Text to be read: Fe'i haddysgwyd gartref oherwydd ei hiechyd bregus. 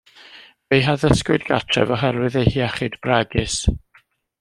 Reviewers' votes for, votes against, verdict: 2, 0, accepted